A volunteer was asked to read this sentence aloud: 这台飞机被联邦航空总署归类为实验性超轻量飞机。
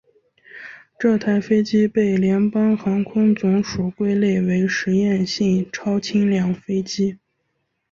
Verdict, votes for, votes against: accepted, 3, 0